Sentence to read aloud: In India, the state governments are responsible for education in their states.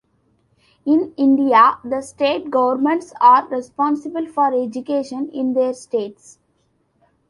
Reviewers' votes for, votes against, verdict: 2, 0, accepted